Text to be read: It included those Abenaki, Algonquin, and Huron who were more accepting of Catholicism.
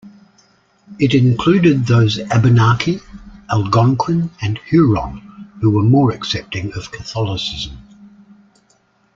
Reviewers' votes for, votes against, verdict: 2, 0, accepted